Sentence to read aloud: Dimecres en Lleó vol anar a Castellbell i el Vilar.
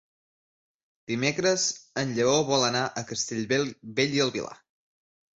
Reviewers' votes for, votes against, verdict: 0, 2, rejected